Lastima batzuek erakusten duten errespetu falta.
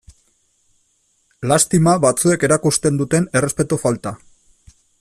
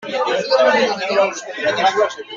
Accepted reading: first